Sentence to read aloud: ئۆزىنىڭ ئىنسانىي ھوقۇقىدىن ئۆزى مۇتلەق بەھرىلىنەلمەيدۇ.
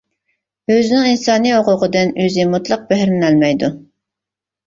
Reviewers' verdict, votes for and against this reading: accepted, 2, 0